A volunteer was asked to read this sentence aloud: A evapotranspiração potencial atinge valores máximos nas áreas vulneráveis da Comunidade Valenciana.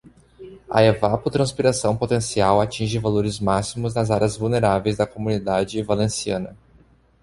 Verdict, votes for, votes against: accepted, 2, 0